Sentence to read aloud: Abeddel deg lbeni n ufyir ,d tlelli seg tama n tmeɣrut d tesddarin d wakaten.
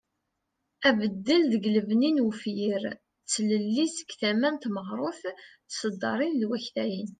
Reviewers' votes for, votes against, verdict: 2, 0, accepted